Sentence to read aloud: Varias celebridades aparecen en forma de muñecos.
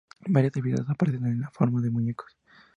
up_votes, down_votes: 0, 2